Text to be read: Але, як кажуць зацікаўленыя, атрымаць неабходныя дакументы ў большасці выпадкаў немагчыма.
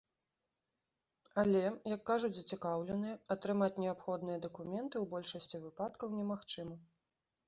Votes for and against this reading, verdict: 2, 0, accepted